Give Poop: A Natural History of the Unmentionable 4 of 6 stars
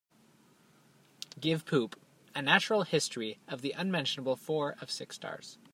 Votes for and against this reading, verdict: 0, 2, rejected